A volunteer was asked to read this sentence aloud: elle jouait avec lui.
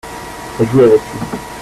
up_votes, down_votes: 0, 2